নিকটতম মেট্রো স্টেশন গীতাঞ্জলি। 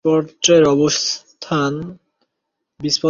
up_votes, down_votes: 0, 2